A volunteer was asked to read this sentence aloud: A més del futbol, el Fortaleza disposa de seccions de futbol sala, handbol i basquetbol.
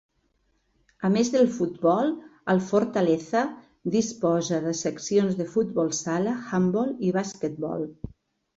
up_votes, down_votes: 2, 0